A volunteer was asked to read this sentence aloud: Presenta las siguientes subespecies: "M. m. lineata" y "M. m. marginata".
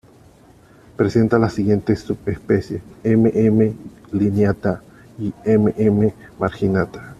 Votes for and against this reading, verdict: 2, 1, accepted